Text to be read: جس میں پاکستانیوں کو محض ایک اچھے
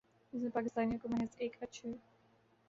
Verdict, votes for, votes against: accepted, 2, 0